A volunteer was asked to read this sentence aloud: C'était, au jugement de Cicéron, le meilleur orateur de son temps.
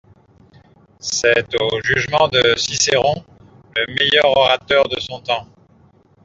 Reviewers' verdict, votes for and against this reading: rejected, 0, 2